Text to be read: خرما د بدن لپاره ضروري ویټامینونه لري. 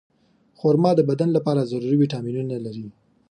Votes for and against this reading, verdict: 4, 0, accepted